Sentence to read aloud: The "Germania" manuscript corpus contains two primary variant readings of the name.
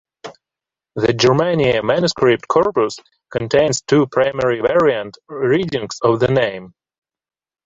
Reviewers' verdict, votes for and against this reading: accepted, 2, 0